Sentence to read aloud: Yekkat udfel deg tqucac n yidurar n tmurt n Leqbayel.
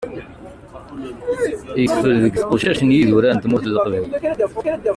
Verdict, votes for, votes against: rejected, 0, 2